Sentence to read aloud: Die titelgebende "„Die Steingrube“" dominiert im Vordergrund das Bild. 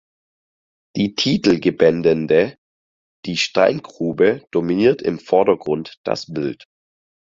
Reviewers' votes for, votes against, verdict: 0, 4, rejected